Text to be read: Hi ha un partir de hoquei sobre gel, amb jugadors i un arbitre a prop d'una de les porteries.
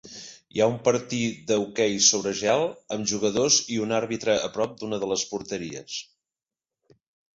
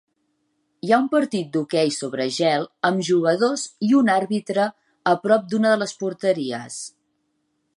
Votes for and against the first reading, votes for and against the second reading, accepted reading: 2, 0, 1, 2, first